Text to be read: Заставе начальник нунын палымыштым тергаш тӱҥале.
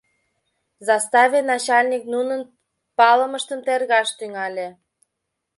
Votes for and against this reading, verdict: 2, 0, accepted